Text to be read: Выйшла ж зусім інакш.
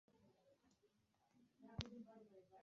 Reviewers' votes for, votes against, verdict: 0, 2, rejected